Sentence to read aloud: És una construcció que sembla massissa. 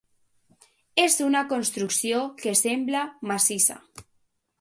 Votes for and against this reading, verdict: 2, 0, accepted